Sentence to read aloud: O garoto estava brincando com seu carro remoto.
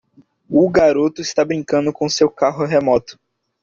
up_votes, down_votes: 1, 2